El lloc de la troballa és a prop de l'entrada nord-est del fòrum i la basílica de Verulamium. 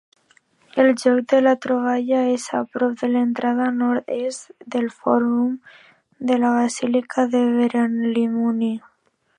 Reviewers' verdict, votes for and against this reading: rejected, 1, 2